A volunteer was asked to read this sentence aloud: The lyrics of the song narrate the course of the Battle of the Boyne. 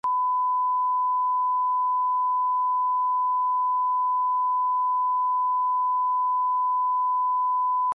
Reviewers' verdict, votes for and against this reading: rejected, 0, 2